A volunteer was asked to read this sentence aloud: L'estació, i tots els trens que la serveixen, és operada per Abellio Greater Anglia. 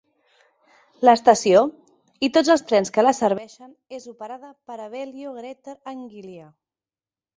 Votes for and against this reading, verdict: 0, 2, rejected